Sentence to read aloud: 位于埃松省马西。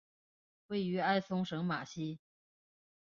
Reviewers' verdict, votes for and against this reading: accepted, 2, 0